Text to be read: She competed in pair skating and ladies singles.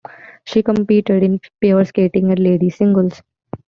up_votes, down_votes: 2, 0